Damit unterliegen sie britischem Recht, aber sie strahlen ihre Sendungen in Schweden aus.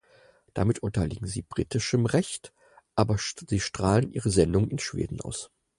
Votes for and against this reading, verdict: 0, 4, rejected